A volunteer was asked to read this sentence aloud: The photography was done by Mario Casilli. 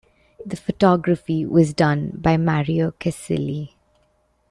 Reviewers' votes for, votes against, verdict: 2, 1, accepted